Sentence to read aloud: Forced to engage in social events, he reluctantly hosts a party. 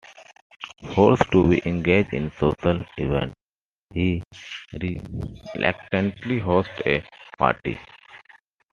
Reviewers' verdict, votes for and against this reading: rejected, 0, 2